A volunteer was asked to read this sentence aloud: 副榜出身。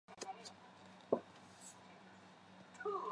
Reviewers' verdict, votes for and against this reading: rejected, 3, 6